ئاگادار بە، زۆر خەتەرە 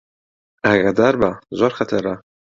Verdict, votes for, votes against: accepted, 2, 0